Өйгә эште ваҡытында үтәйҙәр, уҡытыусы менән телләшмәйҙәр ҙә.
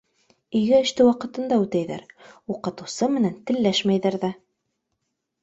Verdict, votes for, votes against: accepted, 2, 0